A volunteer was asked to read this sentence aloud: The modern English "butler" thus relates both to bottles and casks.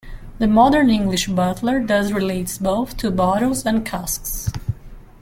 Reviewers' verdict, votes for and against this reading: accepted, 2, 1